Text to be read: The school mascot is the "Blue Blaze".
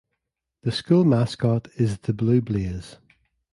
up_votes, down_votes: 1, 2